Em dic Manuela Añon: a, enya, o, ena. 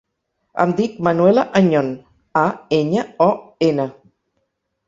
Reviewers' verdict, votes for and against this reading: accepted, 4, 0